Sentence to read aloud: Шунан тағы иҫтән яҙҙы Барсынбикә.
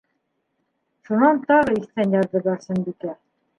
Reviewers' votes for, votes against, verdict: 2, 1, accepted